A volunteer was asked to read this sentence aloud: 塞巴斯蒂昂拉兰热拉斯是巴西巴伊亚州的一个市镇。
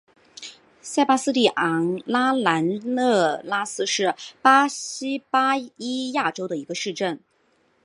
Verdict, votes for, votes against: rejected, 2, 3